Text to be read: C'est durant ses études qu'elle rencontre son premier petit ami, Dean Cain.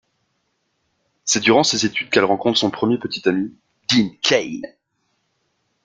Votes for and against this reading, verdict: 2, 0, accepted